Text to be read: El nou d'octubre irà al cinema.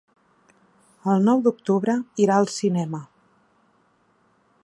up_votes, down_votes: 3, 1